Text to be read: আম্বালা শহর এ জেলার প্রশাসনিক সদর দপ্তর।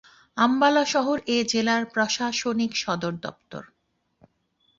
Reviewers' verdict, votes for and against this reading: accepted, 2, 0